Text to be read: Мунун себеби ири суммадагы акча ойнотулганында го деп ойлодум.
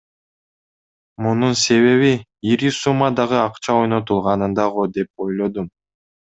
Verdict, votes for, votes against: accepted, 2, 0